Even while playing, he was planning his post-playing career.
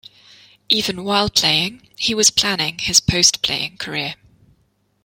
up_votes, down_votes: 2, 0